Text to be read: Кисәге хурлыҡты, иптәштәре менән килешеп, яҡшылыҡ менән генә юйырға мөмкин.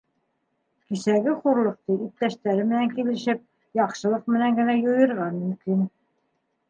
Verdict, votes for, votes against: accepted, 2, 0